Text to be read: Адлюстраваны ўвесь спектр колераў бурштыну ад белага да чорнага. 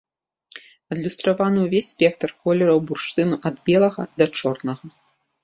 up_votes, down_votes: 2, 0